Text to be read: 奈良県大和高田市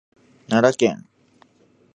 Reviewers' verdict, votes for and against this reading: rejected, 0, 2